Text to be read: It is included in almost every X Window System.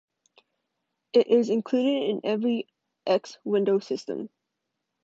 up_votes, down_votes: 1, 2